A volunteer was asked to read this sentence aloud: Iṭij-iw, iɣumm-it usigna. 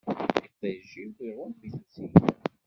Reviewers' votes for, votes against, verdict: 1, 2, rejected